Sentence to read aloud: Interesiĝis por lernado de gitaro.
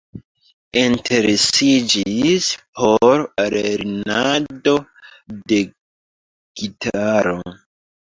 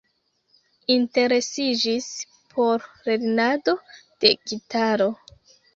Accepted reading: first